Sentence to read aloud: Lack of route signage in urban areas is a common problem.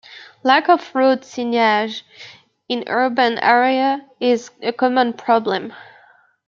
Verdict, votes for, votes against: rejected, 1, 2